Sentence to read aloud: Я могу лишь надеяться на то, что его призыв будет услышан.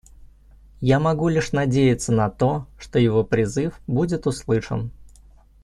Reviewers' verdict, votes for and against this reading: accepted, 2, 0